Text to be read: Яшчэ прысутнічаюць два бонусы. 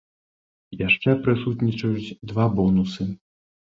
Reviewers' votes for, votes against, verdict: 2, 0, accepted